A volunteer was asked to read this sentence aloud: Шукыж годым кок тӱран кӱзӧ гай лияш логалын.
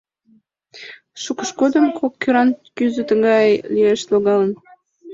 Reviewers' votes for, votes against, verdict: 1, 2, rejected